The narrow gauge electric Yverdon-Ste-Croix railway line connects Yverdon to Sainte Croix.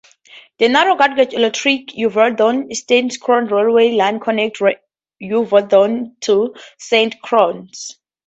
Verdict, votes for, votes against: rejected, 0, 2